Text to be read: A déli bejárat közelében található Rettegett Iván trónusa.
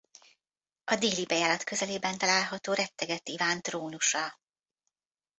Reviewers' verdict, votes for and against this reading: accepted, 2, 0